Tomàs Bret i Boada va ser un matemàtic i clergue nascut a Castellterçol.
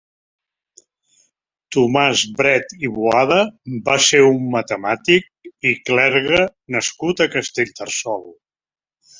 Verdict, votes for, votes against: accepted, 2, 0